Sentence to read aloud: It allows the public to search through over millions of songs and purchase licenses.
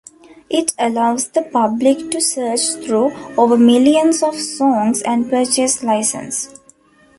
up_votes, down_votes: 0, 2